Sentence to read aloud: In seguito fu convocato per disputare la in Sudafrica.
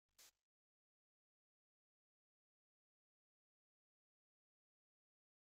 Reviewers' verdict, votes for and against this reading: rejected, 2, 3